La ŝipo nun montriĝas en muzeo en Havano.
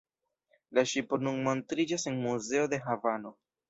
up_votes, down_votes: 1, 2